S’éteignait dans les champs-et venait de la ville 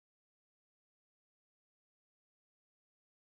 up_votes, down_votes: 0, 2